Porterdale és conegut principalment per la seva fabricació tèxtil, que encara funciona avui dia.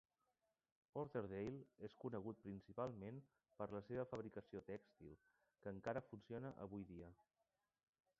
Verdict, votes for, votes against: rejected, 0, 2